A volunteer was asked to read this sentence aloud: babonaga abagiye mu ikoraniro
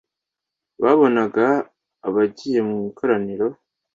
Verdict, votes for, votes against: accepted, 2, 0